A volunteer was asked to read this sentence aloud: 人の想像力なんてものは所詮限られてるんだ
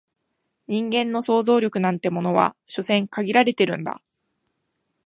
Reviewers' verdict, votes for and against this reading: rejected, 0, 2